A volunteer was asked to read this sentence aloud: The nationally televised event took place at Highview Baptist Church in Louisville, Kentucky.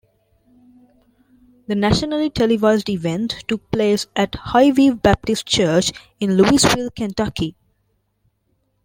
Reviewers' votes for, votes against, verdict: 2, 0, accepted